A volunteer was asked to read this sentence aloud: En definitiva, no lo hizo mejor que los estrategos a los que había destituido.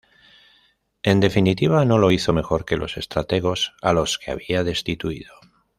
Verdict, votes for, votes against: accepted, 2, 0